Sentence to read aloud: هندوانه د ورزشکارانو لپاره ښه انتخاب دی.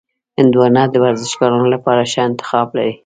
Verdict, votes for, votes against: accepted, 2, 0